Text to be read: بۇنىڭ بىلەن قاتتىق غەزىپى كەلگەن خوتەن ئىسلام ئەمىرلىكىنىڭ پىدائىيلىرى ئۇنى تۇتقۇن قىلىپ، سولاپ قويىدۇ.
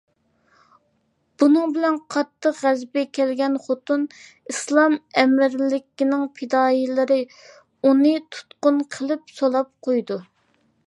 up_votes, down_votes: 2, 0